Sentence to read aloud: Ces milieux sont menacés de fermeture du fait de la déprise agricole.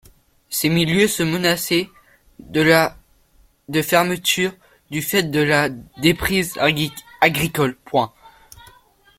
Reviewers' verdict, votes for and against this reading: rejected, 0, 2